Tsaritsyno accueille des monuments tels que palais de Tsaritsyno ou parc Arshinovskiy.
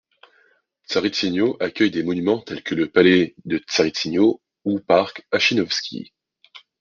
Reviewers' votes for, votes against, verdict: 1, 2, rejected